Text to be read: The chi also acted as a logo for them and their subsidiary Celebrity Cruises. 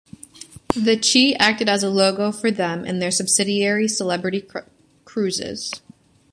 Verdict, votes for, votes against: rejected, 1, 2